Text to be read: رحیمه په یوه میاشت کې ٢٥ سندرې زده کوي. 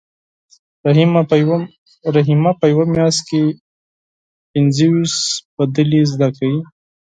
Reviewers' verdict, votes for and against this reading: rejected, 0, 2